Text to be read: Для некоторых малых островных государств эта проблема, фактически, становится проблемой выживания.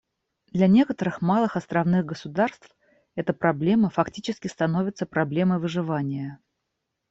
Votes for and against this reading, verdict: 1, 2, rejected